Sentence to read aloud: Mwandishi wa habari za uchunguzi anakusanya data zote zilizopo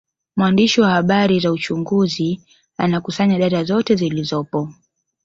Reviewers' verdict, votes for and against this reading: accepted, 2, 1